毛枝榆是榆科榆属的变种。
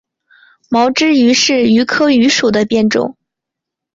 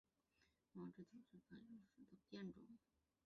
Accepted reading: first